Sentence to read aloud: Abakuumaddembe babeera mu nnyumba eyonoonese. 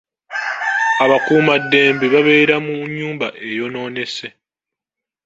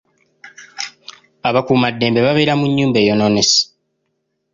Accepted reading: second